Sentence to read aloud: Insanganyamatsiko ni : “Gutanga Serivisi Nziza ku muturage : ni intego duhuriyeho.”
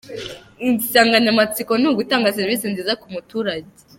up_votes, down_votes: 0, 2